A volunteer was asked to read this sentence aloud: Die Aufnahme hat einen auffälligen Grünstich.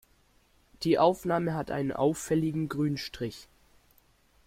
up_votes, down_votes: 1, 2